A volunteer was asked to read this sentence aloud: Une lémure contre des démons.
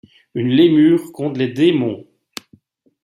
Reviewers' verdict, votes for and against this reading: rejected, 1, 2